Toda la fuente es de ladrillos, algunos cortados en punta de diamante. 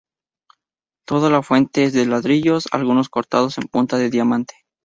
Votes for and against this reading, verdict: 2, 0, accepted